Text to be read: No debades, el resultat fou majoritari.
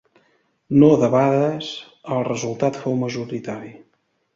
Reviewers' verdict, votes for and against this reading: accepted, 2, 0